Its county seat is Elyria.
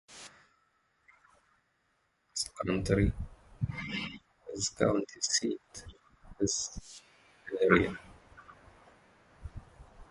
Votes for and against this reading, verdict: 0, 2, rejected